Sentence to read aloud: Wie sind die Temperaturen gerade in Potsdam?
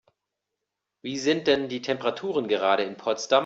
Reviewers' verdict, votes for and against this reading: rejected, 1, 2